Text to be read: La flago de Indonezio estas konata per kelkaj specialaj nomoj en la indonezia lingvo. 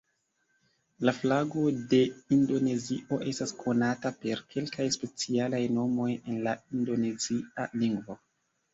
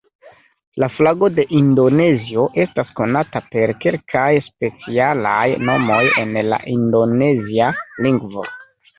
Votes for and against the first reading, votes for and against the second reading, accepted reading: 2, 0, 1, 2, first